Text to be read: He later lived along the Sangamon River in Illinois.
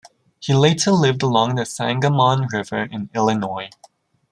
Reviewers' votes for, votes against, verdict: 2, 0, accepted